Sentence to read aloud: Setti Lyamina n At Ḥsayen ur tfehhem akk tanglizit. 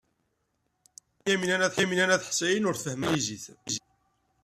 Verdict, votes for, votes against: rejected, 0, 2